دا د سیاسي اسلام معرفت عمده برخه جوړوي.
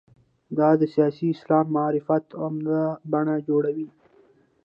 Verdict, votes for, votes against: accepted, 2, 0